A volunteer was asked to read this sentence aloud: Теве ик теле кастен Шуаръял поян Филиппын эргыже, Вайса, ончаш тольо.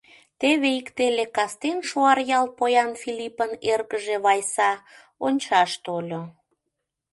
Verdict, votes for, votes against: accepted, 2, 0